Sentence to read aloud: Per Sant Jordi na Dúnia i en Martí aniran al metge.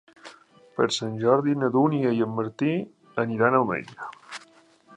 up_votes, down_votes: 0, 2